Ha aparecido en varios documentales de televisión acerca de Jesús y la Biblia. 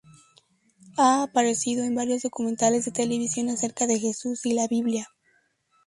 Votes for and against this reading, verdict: 2, 0, accepted